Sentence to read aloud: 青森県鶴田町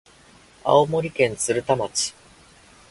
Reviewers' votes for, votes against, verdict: 3, 0, accepted